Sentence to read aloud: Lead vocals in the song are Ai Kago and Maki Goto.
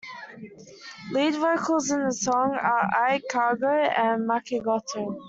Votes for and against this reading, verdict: 2, 0, accepted